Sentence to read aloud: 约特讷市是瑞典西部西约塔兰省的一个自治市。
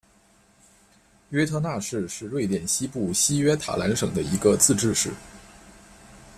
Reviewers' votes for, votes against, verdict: 2, 0, accepted